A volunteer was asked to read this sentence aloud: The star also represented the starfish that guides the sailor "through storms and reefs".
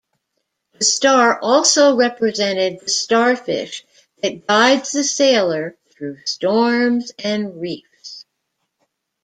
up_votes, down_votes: 2, 0